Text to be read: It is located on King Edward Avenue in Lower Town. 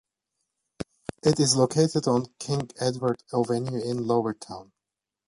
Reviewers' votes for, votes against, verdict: 2, 1, accepted